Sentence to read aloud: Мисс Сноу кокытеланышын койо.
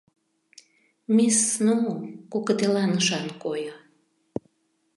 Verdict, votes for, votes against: rejected, 0, 2